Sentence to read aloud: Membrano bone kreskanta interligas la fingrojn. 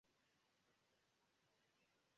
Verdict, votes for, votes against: rejected, 0, 2